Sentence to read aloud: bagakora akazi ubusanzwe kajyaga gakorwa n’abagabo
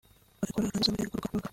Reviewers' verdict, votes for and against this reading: rejected, 0, 2